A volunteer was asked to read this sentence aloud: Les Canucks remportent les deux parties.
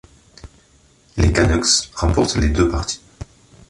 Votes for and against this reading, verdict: 2, 0, accepted